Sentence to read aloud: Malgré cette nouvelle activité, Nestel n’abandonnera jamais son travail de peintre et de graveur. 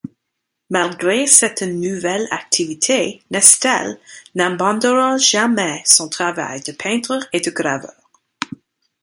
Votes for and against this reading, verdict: 1, 2, rejected